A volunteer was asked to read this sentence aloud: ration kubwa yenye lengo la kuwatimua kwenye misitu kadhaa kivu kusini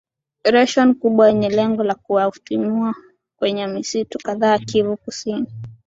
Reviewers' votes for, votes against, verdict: 3, 0, accepted